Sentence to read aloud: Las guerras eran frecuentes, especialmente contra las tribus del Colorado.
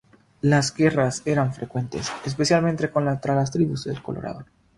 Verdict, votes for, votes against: rejected, 0, 3